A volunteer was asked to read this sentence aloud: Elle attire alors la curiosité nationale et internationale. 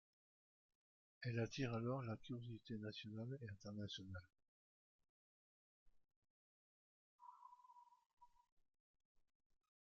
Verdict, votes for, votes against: rejected, 1, 2